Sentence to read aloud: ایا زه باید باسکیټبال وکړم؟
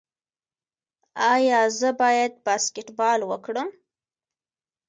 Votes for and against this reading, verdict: 3, 0, accepted